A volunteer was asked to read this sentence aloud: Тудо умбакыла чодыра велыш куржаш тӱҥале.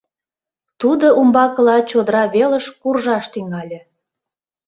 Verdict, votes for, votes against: accepted, 3, 0